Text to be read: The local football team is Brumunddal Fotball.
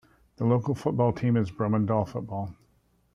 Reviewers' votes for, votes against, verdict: 1, 2, rejected